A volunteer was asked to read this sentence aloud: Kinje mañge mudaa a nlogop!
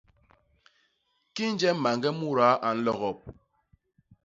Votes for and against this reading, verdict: 2, 0, accepted